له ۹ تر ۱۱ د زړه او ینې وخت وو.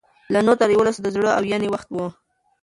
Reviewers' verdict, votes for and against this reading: rejected, 0, 2